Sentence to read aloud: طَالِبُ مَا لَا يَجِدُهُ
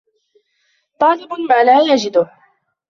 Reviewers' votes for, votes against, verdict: 1, 2, rejected